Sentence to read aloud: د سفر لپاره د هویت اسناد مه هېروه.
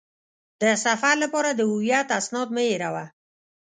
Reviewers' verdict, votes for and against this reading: accepted, 2, 0